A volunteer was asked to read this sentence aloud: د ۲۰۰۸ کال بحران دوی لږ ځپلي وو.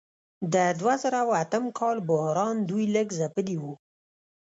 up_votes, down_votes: 0, 2